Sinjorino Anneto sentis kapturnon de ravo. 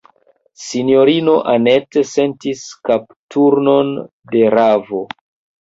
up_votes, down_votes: 1, 3